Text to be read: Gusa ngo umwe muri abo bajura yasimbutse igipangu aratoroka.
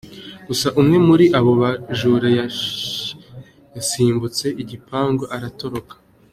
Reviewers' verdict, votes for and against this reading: rejected, 1, 2